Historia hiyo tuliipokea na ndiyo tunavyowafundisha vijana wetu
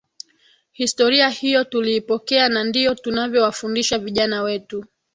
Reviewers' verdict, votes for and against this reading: accepted, 2, 1